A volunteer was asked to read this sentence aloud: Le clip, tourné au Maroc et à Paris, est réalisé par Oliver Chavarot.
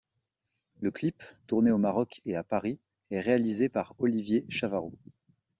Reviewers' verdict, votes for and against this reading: rejected, 1, 2